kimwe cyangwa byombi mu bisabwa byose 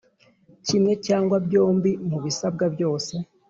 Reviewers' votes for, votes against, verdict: 3, 0, accepted